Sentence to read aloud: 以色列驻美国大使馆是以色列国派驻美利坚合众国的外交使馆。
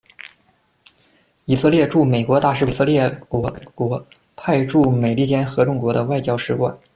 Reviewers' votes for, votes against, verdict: 2, 1, accepted